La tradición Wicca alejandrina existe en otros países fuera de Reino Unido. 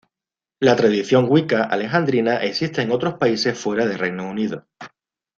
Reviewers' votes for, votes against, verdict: 2, 0, accepted